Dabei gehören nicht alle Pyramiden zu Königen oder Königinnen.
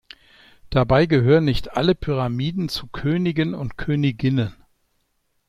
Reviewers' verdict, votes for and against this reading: rejected, 1, 2